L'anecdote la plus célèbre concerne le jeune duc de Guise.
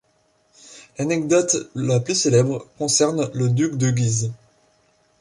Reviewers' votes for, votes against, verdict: 0, 2, rejected